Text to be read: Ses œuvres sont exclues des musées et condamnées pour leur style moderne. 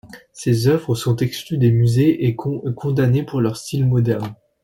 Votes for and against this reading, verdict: 1, 2, rejected